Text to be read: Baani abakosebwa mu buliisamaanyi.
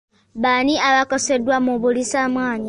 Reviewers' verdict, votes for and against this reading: accepted, 2, 0